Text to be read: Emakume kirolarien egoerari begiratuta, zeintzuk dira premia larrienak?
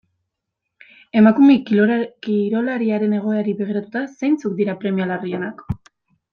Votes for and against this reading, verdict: 0, 2, rejected